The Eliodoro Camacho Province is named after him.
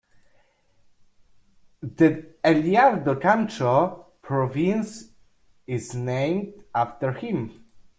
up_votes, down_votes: 2, 1